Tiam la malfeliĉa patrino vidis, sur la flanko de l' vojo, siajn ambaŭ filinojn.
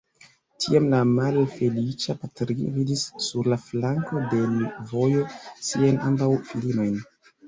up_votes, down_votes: 1, 2